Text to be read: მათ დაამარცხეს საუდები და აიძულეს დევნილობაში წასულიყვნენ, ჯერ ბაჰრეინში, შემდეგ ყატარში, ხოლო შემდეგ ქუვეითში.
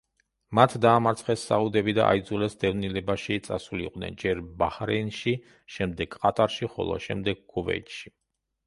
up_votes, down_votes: 1, 2